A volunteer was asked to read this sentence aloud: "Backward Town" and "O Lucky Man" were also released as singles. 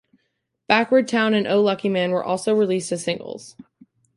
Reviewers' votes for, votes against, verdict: 2, 0, accepted